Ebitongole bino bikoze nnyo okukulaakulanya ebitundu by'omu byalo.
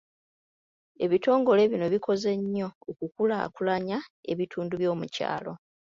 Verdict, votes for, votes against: rejected, 1, 2